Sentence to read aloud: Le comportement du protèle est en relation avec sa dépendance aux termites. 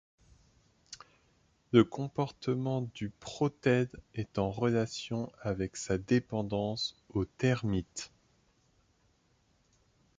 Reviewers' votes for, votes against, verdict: 1, 2, rejected